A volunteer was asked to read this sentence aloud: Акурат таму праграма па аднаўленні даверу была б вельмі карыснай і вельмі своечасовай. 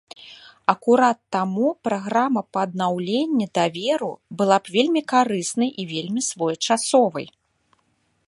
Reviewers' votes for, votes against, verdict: 3, 0, accepted